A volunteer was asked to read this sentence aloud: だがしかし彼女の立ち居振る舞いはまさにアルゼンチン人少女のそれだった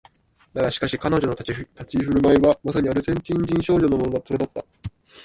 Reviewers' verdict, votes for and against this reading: rejected, 0, 2